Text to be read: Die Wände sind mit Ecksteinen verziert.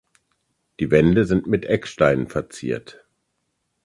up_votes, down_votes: 2, 0